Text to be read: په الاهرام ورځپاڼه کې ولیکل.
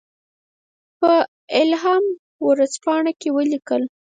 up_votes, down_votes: 0, 4